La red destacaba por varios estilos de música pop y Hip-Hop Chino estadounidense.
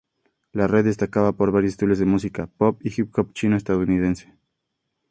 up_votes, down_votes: 2, 2